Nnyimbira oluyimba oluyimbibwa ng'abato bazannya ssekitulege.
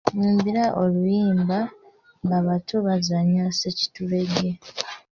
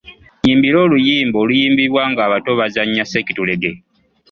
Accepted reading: second